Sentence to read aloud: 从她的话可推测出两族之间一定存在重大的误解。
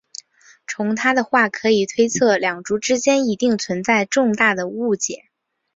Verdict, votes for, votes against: accepted, 2, 0